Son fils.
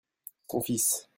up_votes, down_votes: 0, 2